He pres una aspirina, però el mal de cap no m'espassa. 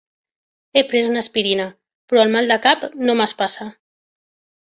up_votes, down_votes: 3, 0